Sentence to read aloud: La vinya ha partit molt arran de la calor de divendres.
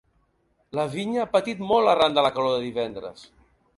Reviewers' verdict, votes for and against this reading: rejected, 0, 2